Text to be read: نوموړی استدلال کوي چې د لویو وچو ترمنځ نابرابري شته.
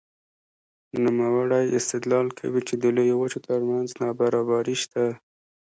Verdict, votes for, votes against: rejected, 1, 2